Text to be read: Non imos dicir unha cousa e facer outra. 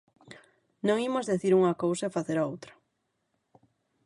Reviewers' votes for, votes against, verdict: 3, 6, rejected